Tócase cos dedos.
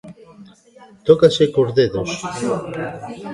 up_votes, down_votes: 1, 2